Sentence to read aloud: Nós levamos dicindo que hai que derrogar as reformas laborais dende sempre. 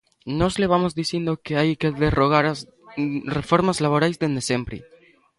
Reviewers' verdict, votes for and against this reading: rejected, 1, 2